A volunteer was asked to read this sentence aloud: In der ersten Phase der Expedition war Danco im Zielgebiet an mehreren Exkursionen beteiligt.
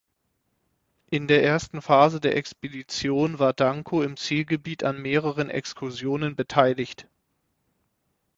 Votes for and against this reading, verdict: 6, 0, accepted